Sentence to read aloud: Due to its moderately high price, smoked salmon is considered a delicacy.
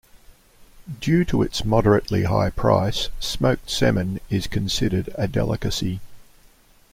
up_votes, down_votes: 3, 0